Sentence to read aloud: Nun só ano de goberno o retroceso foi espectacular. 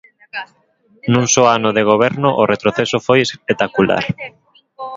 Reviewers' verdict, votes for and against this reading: rejected, 1, 2